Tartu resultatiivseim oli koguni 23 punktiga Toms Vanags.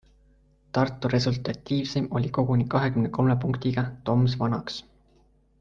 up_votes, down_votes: 0, 2